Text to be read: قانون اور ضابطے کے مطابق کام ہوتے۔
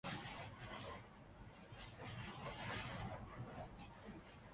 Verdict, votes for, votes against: rejected, 0, 2